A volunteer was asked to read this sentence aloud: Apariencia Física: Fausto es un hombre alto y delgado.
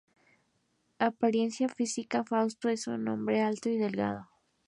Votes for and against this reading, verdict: 0, 2, rejected